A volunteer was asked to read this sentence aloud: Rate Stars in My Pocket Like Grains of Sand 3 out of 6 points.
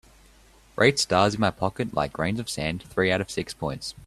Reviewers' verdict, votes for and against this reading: rejected, 0, 2